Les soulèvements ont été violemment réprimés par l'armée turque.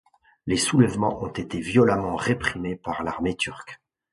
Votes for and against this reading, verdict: 2, 1, accepted